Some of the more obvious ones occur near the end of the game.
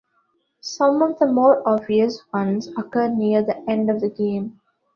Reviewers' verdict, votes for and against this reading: accepted, 2, 0